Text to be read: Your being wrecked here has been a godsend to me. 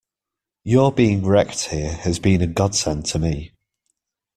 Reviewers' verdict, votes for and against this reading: accepted, 2, 0